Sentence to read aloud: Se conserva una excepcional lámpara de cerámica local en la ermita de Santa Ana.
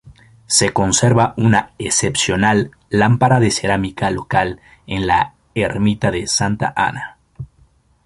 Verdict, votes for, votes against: accepted, 2, 0